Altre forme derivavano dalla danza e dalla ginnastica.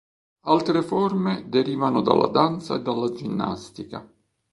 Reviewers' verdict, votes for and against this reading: rejected, 1, 2